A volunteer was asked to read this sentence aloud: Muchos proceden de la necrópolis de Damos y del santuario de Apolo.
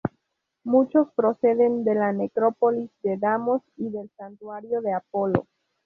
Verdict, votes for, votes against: rejected, 0, 2